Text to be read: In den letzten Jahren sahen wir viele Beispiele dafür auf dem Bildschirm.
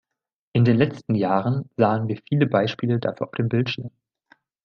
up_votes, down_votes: 2, 0